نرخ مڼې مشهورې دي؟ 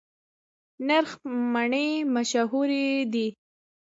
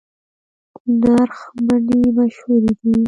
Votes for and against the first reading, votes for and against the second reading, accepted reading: 3, 0, 0, 2, first